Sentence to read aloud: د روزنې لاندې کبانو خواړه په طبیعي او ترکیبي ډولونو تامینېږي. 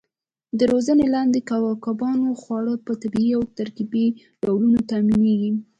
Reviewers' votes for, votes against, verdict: 2, 0, accepted